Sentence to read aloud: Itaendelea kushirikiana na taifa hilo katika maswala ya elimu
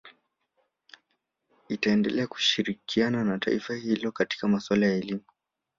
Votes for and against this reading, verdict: 2, 0, accepted